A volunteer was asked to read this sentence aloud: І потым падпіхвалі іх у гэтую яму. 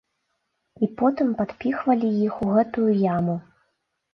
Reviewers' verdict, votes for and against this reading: accepted, 2, 0